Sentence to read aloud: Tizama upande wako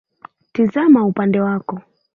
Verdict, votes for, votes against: accepted, 2, 1